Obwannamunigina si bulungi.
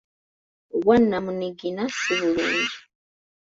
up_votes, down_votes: 2, 0